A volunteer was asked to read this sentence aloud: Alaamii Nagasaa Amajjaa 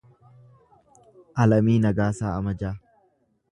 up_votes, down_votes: 1, 2